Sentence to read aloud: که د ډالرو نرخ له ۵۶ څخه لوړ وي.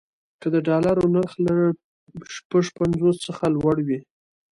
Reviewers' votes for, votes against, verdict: 0, 2, rejected